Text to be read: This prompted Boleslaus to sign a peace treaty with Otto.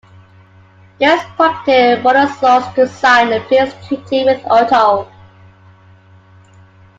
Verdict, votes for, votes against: rejected, 0, 2